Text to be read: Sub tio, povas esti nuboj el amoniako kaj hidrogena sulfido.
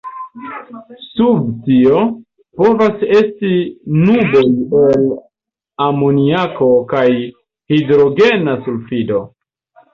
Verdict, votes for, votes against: rejected, 1, 2